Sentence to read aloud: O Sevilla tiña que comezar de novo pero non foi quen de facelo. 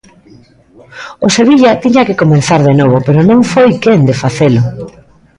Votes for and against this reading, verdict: 1, 2, rejected